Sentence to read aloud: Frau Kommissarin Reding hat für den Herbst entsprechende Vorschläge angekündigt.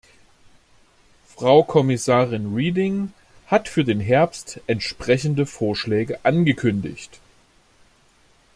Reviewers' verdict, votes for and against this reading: rejected, 1, 2